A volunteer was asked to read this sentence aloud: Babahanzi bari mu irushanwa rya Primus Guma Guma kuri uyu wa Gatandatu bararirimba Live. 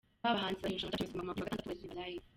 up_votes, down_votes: 0, 2